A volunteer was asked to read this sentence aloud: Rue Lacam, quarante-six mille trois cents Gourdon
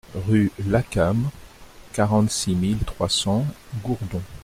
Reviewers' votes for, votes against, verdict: 2, 0, accepted